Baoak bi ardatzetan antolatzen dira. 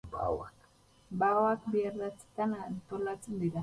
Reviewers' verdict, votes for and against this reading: rejected, 4, 6